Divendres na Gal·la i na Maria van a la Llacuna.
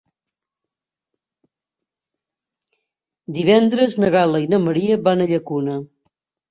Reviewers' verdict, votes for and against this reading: rejected, 0, 2